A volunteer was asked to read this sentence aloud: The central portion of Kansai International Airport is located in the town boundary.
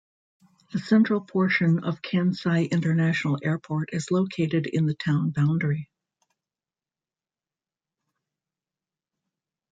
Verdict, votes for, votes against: rejected, 0, 2